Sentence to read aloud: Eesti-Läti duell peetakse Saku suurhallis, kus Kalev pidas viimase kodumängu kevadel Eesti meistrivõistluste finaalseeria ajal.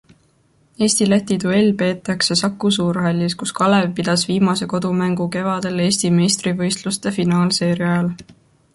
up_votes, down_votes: 2, 0